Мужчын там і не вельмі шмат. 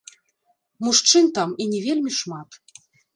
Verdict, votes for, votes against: rejected, 0, 2